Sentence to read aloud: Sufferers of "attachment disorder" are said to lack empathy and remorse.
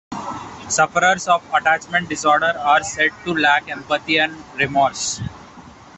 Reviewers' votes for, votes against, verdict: 0, 2, rejected